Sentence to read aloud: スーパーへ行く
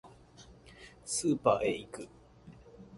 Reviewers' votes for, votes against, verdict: 2, 0, accepted